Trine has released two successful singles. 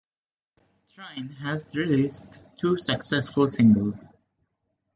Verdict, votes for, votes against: accepted, 2, 1